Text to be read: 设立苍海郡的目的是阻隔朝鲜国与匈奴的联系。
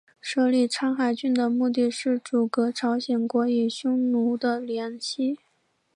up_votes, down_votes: 2, 0